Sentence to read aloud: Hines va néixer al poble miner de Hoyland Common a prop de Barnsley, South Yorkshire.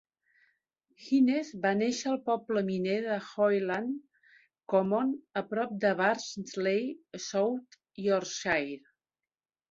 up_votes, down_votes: 2, 0